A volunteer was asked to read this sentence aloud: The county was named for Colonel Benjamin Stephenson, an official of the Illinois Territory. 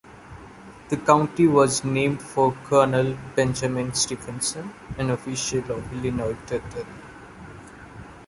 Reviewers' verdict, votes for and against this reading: rejected, 0, 2